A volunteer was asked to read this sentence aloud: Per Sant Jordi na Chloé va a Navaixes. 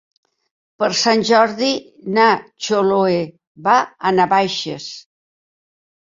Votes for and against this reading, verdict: 1, 3, rejected